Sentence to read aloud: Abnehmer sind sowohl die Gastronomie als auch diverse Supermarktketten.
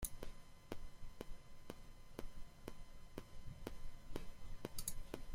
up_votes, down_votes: 0, 2